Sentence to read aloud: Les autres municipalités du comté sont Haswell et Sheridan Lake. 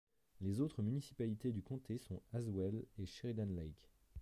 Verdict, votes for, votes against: accepted, 2, 1